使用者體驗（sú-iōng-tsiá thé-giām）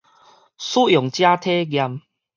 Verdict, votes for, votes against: accepted, 2, 0